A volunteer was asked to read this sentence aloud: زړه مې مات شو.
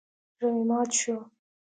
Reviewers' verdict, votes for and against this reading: accepted, 2, 1